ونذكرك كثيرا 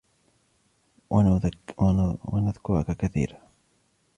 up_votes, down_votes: 2, 1